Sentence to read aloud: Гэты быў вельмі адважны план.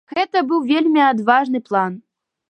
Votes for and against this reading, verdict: 2, 0, accepted